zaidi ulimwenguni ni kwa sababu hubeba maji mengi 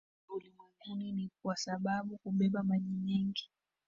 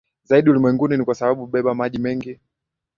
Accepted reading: second